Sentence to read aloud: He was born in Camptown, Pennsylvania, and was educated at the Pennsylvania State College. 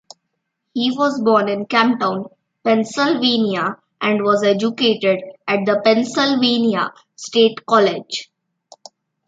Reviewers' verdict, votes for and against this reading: accepted, 2, 0